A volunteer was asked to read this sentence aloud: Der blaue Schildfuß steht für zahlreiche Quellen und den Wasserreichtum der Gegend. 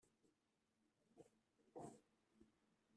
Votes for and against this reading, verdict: 0, 2, rejected